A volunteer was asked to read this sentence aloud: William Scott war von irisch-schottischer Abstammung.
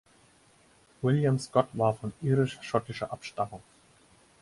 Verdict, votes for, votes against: accepted, 4, 0